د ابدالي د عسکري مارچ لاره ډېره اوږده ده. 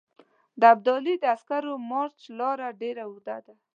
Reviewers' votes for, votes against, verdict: 2, 0, accepted